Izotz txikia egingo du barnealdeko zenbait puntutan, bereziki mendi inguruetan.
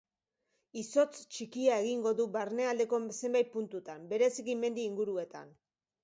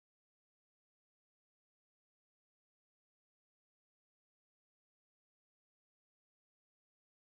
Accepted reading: first